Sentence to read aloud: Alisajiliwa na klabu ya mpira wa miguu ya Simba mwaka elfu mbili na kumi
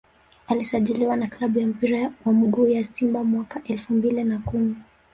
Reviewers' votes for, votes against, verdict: 1, 2, rejected